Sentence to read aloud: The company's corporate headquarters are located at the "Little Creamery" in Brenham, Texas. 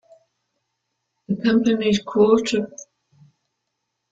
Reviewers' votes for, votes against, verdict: 0, 2, rejected